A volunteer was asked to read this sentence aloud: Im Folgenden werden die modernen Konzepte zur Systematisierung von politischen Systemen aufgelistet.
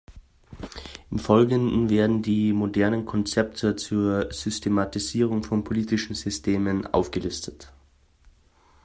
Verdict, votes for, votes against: accepted, 2, 0